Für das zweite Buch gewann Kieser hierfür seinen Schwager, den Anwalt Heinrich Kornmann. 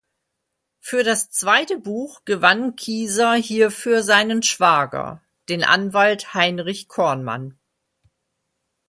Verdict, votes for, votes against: accepted, 2, 0